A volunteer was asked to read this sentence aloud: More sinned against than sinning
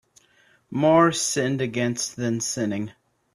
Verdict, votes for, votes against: accepted, 2, 0